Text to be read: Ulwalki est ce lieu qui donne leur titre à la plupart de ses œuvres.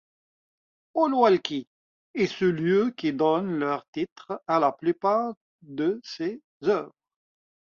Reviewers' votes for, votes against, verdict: 2, 1, accepted